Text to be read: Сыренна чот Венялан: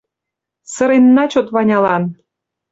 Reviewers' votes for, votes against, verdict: 1, 2, rejected